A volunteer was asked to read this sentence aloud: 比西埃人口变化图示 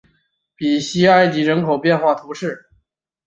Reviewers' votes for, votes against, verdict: 2, 3, rejected